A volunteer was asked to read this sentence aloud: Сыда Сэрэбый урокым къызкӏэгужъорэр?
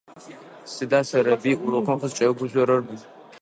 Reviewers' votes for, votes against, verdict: 0, 2, rejected